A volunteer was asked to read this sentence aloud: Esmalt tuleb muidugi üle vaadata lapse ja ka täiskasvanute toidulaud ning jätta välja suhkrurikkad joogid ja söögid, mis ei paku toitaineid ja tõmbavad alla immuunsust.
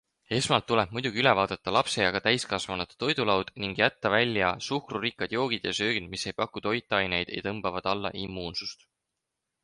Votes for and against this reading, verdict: 4, 0, accepted